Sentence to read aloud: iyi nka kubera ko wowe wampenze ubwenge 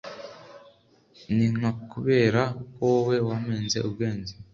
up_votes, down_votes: 2, 0